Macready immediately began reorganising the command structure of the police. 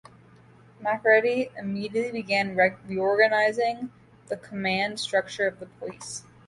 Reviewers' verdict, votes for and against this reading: rejected, 1, 2